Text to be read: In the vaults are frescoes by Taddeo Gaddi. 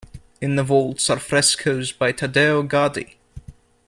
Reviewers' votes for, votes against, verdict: 2, 0, accepted